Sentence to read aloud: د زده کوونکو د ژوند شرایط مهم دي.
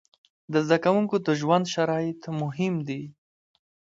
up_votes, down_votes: 2, 0